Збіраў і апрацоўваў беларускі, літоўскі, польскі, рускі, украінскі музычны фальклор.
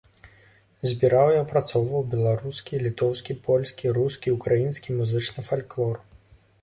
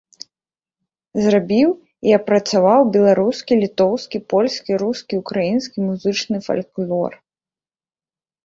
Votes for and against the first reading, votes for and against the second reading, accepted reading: 2, 0, 0, 3, first